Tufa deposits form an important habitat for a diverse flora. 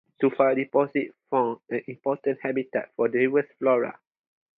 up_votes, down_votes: 0, 2